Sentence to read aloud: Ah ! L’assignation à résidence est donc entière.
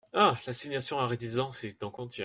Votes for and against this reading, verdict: 1, 2, rejected